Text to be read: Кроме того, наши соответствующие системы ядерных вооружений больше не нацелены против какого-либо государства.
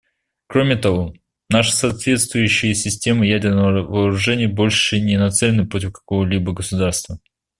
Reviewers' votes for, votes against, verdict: 2, 1, accepted